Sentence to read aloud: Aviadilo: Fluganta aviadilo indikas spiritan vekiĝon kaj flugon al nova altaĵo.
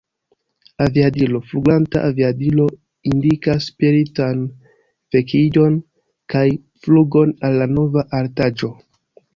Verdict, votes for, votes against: rejected, 0, 2